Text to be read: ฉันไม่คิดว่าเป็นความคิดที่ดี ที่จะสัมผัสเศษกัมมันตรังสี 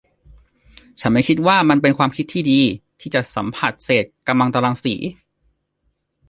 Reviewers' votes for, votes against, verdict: 1, 2, rejected